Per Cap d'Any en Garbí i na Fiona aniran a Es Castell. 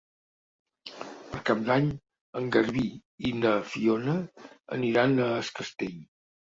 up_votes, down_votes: 3, 0